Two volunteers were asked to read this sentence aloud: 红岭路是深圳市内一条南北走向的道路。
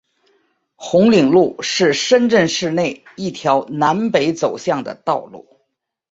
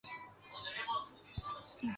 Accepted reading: first